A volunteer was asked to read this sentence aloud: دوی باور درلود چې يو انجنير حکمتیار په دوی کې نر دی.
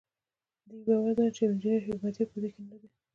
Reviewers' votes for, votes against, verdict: 2, 0, accepted